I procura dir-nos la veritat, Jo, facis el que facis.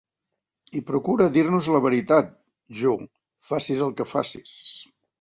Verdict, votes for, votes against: accepted, 2, 0